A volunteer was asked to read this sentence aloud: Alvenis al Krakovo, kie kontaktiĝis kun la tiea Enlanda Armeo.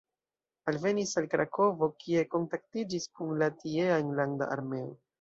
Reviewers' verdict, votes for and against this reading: accepted, 2, 0